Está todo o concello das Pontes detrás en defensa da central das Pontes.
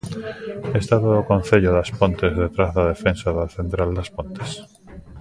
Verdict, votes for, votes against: rejected, 0, 2